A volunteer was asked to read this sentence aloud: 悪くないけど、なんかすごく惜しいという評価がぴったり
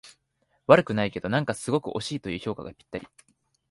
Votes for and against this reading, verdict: 4, 0, accepted